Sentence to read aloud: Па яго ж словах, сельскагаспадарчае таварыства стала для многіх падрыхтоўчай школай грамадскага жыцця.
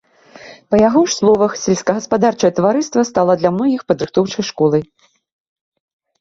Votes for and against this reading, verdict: 0, 2, rejected